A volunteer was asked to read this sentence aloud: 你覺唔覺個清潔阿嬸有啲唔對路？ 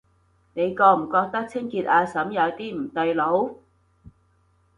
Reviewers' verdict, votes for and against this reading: rejected, 1, 2